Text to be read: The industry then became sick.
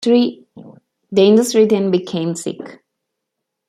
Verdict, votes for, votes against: rejected, 0, 2